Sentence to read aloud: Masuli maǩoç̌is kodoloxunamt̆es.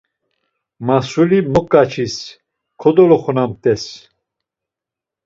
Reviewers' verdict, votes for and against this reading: rejected, 0, 2